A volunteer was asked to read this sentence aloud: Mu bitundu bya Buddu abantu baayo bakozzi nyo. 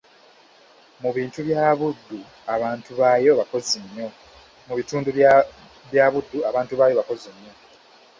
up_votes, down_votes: 0, 2